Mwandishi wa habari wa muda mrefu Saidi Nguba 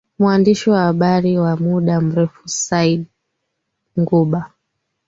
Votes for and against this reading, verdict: 0, 2, rejected